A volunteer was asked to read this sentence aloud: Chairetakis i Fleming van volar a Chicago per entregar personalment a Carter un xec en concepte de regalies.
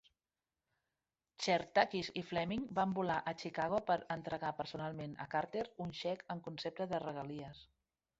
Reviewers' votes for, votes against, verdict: 2, 0, accepted